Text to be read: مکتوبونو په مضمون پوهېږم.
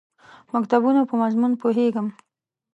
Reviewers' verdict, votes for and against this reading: accepted, 2, 0